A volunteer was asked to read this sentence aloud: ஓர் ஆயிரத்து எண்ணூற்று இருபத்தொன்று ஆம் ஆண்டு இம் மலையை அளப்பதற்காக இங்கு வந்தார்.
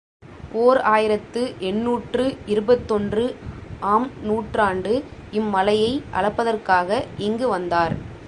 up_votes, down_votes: 0, 2